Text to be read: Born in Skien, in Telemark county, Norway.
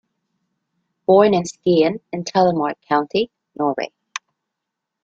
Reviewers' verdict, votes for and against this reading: rejected, 0, 2